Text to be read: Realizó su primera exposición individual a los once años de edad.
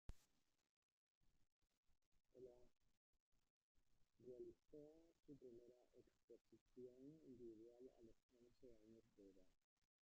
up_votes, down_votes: 0, 2